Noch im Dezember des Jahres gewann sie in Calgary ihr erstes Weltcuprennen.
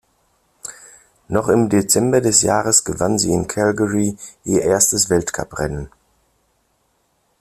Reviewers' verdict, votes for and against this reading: accepted, 2, 0